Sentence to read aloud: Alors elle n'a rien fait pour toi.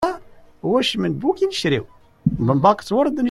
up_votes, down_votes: 0, 2